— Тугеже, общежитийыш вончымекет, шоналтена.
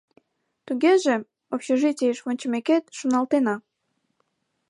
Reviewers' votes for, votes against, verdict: 2, 0, accepted